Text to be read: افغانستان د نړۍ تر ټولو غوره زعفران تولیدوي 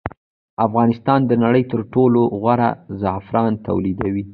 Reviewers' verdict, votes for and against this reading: accepted, 2, 0